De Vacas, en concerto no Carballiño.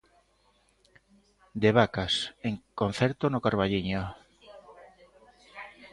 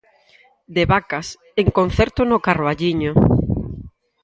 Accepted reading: second